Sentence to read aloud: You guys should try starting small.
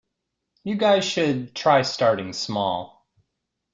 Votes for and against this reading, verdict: 2, 0, accepted